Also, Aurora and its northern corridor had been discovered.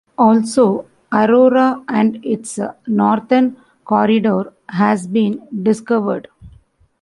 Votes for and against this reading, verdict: 0, 2, rejected